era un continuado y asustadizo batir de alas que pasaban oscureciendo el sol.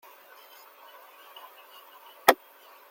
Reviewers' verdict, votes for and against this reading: rejected, 0, 2